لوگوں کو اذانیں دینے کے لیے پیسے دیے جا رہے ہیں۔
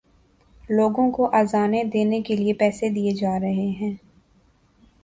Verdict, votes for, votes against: accepted, 2, 0